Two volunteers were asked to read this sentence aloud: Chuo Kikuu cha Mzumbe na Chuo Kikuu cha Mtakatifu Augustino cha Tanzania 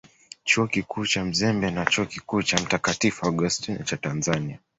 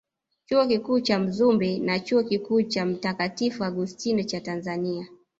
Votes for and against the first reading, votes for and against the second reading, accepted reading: 0, 2, 3, 2, second